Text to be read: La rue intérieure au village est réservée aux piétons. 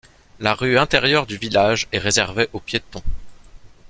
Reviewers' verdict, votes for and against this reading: rejected, 1, 2